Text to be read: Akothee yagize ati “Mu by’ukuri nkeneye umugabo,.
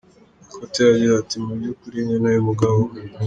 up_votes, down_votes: 2, 1